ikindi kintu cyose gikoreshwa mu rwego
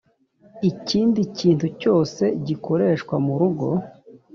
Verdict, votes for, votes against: rejected, 1, 2